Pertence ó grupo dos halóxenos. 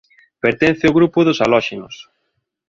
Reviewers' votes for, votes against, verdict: 2, 0, accepted